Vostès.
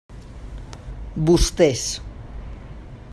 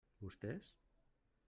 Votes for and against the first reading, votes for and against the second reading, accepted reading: 3, 0, 1, 2, first